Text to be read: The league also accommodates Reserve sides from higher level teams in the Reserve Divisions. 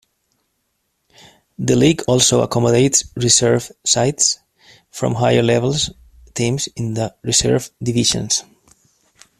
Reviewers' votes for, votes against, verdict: 0, 2, rejected